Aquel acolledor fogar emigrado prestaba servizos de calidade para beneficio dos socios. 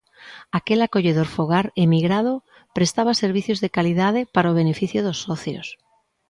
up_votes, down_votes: 0, 2